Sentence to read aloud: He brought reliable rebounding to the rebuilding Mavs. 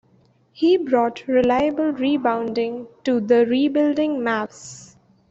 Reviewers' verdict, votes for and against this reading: accepted, 2, 0